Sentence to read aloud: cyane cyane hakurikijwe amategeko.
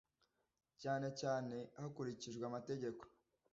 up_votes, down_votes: 2, 0